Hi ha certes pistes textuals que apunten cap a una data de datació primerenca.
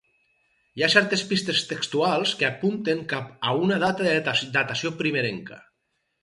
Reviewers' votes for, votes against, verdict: 2, 2, rejected